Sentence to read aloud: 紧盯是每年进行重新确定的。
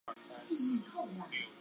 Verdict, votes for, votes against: rejected, 1, 2